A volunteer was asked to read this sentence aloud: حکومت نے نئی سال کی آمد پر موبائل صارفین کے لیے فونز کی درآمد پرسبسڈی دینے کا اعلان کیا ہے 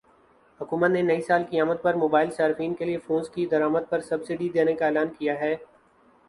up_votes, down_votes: 2, 0